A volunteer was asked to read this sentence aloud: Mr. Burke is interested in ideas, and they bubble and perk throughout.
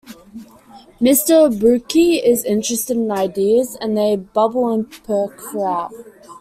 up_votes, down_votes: 2, 1